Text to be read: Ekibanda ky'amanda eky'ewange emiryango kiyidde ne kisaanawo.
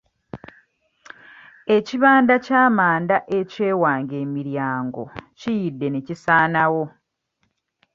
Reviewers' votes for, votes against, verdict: 2, 0, accepted